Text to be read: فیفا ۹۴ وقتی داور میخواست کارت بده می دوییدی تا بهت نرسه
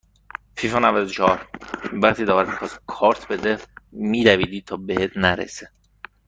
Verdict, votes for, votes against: rejected, 0, 2